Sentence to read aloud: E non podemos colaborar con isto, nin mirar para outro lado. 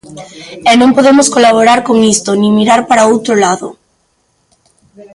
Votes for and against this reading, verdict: 3, 0, accepted